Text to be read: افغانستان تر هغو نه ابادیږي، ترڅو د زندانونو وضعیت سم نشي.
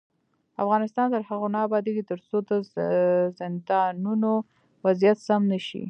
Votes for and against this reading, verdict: 2, 0, accepted